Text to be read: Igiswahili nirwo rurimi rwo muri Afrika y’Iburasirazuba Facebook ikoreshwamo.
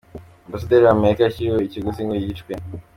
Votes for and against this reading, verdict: 0, 2, rejected